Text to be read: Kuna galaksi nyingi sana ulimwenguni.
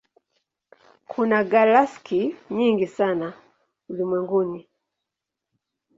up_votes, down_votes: 1, 2